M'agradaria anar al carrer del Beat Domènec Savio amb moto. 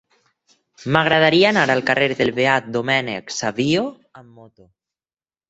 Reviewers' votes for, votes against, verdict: 0, 4, rejected